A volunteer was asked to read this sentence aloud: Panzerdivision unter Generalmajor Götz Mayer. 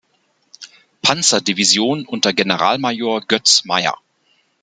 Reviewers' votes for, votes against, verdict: 2, 0, accepted